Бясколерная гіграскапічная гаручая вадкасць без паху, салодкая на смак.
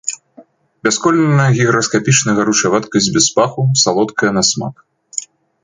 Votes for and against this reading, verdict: 2, 0, accepted